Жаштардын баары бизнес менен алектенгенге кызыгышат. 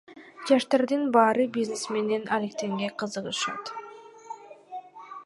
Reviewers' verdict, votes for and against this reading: accepted, 2, 1